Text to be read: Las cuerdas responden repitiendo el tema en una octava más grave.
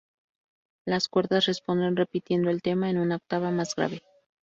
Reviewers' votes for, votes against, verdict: 2, 0, accepted